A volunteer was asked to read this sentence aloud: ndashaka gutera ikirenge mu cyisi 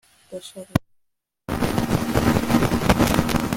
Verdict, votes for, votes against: rejected, 1, 2